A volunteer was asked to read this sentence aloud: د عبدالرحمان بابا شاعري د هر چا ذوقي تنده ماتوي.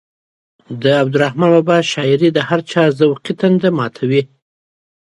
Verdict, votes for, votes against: accepted, 2, 0